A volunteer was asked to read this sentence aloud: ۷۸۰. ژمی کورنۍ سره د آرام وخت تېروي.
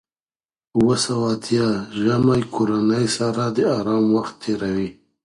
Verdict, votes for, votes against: rejected, 0, 2